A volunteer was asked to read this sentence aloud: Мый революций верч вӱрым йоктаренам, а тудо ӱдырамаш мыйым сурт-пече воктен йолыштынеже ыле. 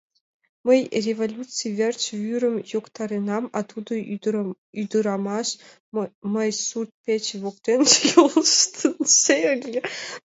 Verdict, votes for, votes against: rejected, 1, 2